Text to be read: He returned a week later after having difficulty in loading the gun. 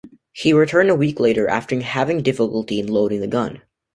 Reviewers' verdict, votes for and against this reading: rejected, 1, 2